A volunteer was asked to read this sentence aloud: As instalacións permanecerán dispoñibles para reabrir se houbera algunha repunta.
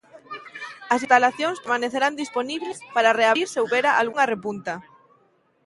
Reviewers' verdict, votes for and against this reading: rejected, 0, 2